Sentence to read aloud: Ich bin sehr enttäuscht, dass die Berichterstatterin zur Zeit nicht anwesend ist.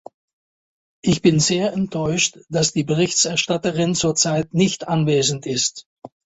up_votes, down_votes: 1, 2